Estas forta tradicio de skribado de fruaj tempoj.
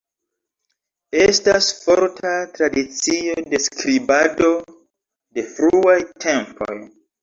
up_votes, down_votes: 1, 2